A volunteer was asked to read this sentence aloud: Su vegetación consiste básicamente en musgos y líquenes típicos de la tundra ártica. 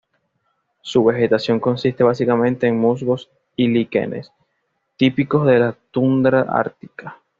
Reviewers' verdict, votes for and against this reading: accepted, 2, 0